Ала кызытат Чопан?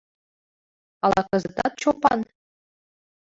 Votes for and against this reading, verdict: 0, 2, rejected